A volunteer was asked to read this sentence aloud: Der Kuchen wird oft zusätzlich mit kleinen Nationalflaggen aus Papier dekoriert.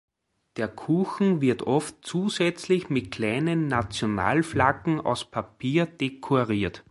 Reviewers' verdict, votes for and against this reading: accepted, 2, 1